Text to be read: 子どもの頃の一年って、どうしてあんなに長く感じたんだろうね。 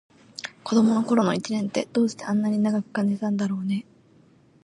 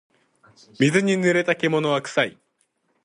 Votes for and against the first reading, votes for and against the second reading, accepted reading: 2, 0, 0, 4, first